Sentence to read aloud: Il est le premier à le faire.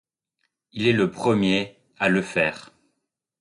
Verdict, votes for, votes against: accepted, 2, 0